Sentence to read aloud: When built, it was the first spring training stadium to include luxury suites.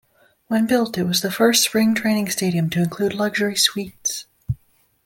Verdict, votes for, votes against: accepted, 2, 0